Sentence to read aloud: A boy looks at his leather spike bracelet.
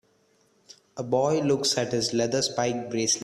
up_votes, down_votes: 0, 2